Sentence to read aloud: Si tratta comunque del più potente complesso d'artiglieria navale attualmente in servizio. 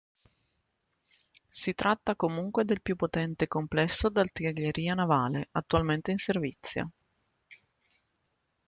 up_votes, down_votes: 2, 0